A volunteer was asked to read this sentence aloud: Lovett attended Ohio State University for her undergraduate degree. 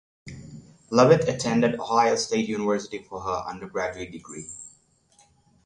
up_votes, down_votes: 6, 0